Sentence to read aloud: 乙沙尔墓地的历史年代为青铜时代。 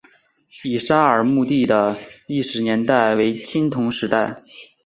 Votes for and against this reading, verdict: 5, 1, accepted